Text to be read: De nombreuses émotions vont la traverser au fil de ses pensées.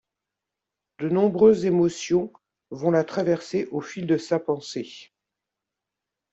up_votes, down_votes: 1, 2